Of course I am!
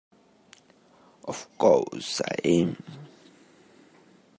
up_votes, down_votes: 0, 2